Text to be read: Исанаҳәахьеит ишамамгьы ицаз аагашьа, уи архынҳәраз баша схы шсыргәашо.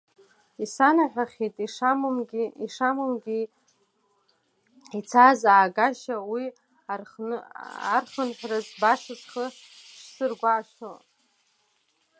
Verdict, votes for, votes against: rejected, 0, 2